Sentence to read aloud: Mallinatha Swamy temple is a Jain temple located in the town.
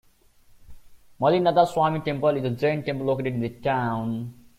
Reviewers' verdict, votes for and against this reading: rejected, 0, 2